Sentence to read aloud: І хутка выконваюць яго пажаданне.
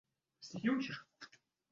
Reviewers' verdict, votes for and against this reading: rejected, 0, 2